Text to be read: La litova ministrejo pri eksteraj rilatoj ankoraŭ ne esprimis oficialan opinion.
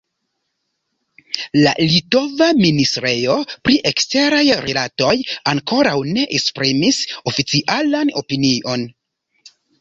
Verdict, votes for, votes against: accepted, 3, 0